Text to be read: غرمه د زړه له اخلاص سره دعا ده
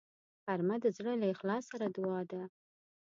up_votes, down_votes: 2, 0